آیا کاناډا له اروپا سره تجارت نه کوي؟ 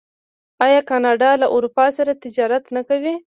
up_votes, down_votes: 2, 1